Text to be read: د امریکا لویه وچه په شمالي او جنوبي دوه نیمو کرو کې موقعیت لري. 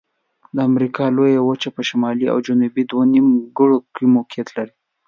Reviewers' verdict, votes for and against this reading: rejected, 0, 2